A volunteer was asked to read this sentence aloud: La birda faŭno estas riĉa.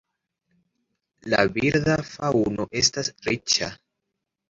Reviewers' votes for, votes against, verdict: 2, 0, accepted